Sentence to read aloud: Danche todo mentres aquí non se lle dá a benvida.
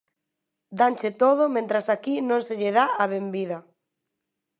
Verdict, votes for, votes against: rejected, 0, 2